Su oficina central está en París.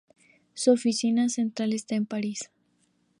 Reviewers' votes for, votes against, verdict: 4, 0, accepted